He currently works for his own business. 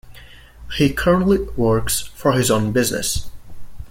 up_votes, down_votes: 2, 0